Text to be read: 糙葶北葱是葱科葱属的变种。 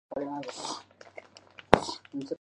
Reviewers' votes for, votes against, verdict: 1, 2, rejected